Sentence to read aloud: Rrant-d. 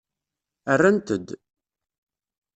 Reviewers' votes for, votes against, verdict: 2, 0, accepted